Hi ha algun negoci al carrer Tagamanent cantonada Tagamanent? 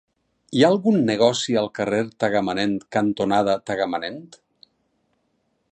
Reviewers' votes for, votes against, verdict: 6, 0, accepted